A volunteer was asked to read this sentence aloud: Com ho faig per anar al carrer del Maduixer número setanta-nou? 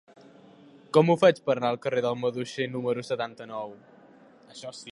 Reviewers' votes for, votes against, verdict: 0, 2, rejected